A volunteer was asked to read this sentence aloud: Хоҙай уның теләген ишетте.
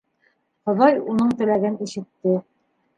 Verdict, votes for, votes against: rejected, 0, 2